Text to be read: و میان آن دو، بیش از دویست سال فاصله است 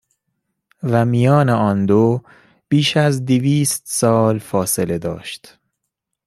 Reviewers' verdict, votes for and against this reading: rejected, 1, 2